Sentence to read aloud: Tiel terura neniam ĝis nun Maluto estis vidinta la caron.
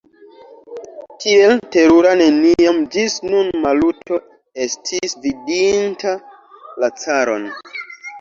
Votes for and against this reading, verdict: 2, 1, accepted